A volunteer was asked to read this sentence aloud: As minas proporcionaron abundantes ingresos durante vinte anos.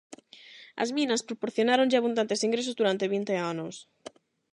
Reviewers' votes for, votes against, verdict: 0, 8, rejected